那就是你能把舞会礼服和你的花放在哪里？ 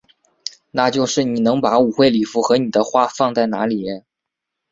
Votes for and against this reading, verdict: 7, 0, accepted